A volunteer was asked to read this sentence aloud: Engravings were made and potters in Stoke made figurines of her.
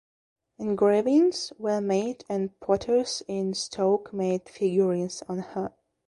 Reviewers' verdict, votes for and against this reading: rejected, 0, 2